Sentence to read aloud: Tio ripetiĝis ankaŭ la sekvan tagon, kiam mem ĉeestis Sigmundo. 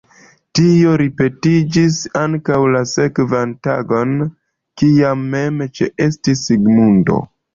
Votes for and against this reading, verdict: 2, 1, accepted